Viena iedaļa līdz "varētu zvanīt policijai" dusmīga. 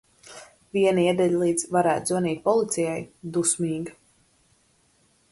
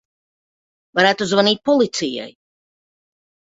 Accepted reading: first